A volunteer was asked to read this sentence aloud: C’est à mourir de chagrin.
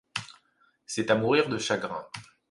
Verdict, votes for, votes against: accepted, 2, 1